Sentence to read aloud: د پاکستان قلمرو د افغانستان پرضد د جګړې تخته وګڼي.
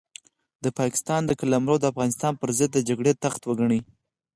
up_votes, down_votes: 4, 0